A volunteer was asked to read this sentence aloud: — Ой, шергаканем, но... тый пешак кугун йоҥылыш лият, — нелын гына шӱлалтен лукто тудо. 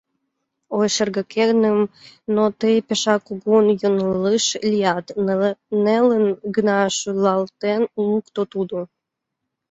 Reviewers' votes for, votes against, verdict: 0, 2, rejected